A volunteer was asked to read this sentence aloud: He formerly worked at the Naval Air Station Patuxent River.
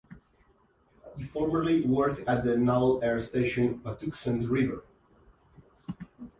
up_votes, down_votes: 2, 0